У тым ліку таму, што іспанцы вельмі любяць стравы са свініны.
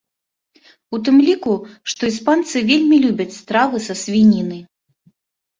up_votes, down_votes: 1, 2